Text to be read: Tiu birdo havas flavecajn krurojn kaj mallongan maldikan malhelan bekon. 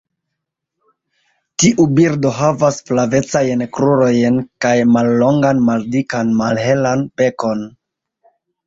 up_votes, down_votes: 0, 2